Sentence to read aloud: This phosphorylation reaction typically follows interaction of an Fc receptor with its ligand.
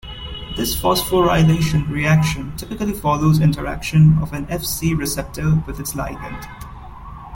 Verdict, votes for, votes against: accepted, 2, 1